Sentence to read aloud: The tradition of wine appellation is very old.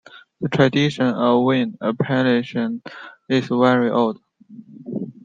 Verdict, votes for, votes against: rejected, 0, 2